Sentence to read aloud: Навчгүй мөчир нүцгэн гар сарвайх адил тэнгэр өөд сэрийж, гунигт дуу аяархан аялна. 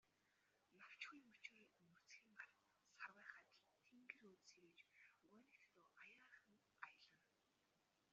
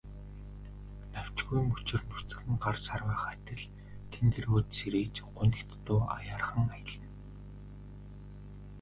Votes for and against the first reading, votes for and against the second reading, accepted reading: 1, 2, 3, 1, second